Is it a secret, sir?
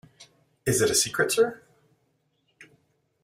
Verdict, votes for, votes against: accepted, 2, 0